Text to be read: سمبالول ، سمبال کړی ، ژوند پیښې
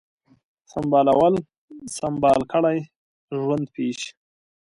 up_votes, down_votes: 0, 2